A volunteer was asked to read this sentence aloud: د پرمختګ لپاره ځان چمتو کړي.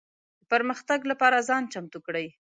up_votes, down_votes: 1, 2